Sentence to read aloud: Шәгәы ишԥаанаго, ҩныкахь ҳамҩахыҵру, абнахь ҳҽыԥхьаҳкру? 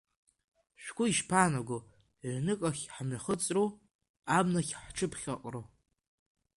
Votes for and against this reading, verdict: 2, 0, accepted